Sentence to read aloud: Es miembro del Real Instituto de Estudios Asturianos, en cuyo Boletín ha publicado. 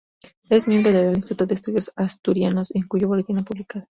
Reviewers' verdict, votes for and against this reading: rejected, 0, 2